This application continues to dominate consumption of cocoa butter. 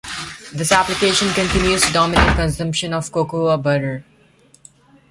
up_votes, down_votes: 2, 1